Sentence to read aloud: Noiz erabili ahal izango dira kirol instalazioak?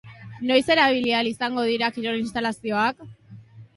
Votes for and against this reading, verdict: 2, 0, accepted